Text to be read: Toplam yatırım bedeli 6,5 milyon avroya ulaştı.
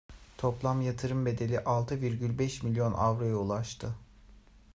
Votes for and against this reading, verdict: 0, 2, rejected